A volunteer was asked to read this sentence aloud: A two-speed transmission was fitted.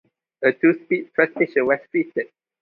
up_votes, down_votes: 0, 2